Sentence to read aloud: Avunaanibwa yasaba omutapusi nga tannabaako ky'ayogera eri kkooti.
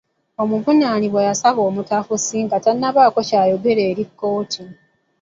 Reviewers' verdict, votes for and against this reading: rejected, 0, 2